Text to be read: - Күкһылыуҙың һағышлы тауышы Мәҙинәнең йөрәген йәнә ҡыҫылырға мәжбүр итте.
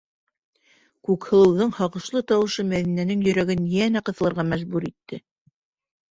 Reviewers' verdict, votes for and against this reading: accepted, 2, 0